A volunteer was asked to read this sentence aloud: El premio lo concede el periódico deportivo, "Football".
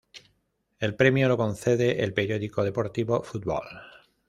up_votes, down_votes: 2, 0